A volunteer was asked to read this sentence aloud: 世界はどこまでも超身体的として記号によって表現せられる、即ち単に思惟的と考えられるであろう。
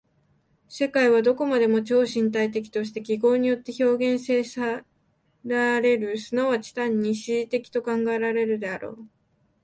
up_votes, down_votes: 2, 0